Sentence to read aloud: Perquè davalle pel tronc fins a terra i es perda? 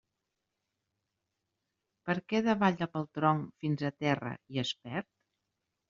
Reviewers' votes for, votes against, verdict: 1, 2, rejected